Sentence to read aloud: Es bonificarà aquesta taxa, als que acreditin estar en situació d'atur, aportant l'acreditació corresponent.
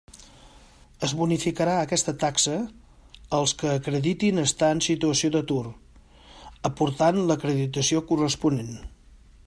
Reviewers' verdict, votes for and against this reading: accepted, 2, 0